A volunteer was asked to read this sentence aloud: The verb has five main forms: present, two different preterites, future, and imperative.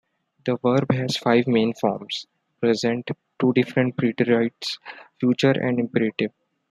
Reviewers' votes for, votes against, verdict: 2, 1, accepted